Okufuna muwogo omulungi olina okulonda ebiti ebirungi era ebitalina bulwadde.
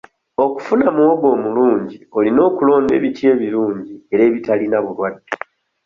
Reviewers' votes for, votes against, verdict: 2, 0, accepted